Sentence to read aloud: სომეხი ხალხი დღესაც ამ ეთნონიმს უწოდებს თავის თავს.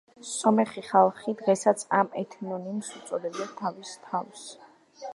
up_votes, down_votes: 1, 2